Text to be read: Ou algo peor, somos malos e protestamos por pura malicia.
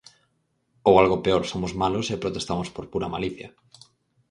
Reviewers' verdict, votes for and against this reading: accepted, 4, 0